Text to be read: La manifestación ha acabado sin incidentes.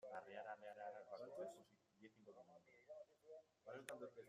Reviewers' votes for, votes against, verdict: 0, 2, rejected